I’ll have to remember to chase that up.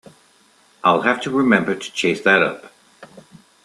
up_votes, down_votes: 2, 0